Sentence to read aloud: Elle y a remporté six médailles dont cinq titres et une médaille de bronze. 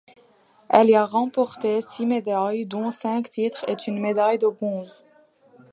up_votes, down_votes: 2, 0